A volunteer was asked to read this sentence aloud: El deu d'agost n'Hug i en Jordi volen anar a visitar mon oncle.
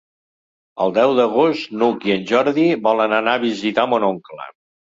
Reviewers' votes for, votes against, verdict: 4, 0, accepted